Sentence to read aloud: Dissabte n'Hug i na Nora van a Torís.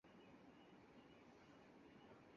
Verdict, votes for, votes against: rejected, 0, 4